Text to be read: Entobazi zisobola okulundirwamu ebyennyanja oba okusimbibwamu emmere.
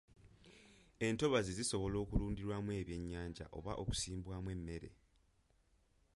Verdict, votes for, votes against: rejected, 1, 2